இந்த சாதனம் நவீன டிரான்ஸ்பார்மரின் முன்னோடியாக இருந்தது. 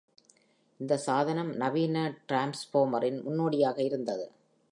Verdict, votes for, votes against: accepted, 2, 0